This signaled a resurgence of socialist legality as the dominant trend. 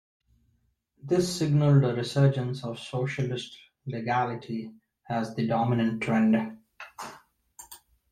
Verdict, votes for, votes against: accepted, 2, 0